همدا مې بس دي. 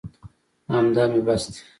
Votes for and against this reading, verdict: 2, 0, accepted